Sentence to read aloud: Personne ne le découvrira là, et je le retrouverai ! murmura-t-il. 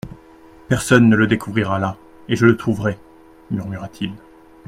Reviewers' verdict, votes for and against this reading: rejected, 1, 2